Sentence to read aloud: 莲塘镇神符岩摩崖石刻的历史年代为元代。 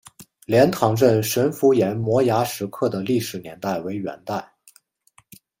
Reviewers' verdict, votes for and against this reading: accepted, 2, 1